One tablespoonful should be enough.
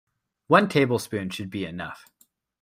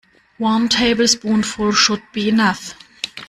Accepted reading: second